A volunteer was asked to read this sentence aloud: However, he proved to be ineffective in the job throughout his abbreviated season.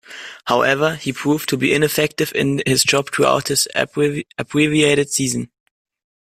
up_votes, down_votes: 0, 2